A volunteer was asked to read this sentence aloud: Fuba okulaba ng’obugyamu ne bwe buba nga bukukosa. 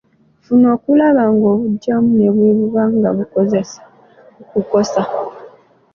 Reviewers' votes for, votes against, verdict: 0, 2, rejected